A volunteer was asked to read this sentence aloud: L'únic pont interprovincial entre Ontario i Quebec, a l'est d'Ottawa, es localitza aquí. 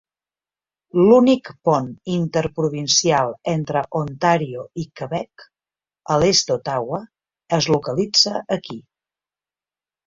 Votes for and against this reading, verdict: 3, 0, accepted